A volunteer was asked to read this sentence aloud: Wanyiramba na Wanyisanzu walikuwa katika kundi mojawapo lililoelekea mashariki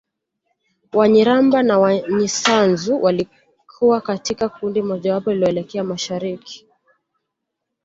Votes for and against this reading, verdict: 2, 0, accepted